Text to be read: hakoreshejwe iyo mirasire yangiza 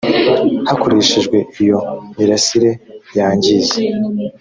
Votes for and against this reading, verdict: 2, 0, accepted